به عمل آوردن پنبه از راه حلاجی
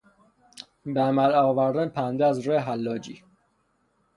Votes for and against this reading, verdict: 6, 0, accepted